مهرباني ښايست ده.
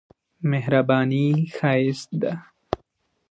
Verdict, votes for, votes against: accepted, 2, 0